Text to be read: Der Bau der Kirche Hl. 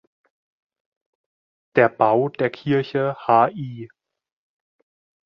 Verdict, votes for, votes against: rejected, 1, 2